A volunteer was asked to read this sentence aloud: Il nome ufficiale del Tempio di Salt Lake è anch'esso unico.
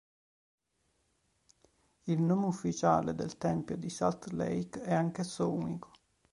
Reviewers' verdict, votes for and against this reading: rejected, 1, 2